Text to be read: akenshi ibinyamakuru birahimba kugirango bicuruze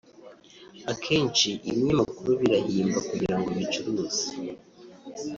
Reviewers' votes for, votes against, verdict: 1, 2, rejected